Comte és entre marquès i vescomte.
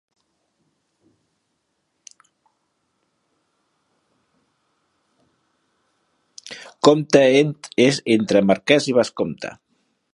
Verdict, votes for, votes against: rejected, 0, 3